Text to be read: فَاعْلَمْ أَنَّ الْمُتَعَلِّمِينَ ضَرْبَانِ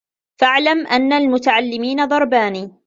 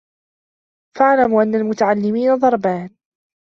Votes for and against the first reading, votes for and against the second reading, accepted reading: 2, 0, 1, 2, first